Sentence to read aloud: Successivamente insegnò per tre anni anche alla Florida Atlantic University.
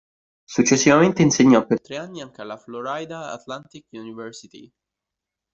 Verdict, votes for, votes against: accepted, 2, 0